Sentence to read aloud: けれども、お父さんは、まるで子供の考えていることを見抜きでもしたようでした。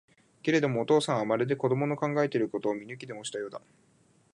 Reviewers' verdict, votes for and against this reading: rejected, 1, 2